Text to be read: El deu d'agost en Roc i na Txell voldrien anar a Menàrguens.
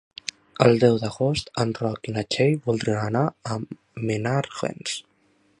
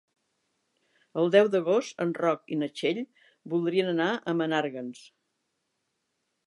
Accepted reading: second